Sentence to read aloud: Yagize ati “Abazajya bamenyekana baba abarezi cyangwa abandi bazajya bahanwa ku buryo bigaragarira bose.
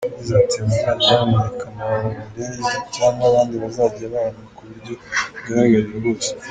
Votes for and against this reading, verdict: 1, 2, rejected